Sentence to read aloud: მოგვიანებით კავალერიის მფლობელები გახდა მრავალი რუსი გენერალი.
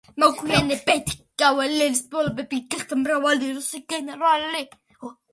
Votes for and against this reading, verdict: 2, 1, accepted